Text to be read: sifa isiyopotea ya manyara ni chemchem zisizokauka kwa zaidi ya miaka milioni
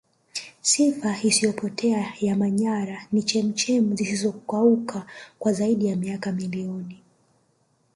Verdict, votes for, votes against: rejected, 1, 2